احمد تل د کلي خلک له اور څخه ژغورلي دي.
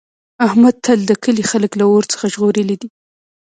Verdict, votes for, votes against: rejected, 1, 2